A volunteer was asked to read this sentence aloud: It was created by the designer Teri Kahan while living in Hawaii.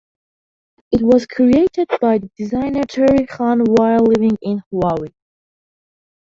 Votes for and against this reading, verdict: 0, 2, rejected